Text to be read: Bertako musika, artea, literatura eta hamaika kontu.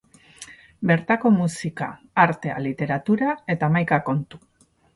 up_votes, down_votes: 0, 2